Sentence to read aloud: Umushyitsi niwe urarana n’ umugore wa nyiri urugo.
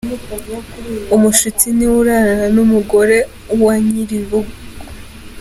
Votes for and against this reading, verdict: 2, 0, accepted